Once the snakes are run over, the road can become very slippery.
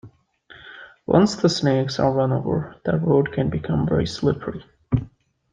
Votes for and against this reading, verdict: 2, 0, accepted